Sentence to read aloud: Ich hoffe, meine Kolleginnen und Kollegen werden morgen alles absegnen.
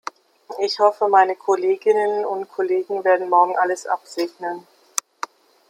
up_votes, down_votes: 1, 2